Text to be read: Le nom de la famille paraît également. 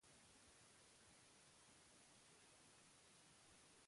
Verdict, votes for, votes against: rejected, 0, 2